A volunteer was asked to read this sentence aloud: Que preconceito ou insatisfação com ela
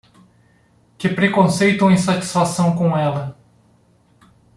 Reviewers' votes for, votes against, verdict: 2, 0, accepted